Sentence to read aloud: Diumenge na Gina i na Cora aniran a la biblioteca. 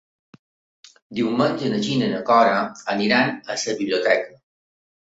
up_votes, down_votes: 1, 2